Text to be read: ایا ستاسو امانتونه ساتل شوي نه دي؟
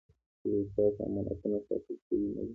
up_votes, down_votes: 1, 2